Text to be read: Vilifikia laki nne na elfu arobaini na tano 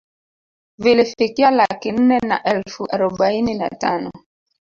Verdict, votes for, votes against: rejected, 1, 3